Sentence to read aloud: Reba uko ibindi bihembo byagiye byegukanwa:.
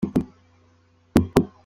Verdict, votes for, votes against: rejected, 0, 2